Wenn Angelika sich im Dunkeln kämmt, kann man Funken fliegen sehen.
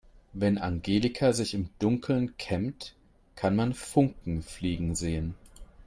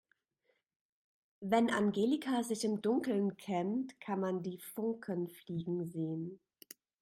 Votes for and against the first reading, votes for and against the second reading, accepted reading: 3, 0, 1, 4, first